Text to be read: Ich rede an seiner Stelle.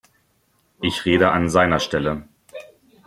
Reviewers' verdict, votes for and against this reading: accepted, 2, 0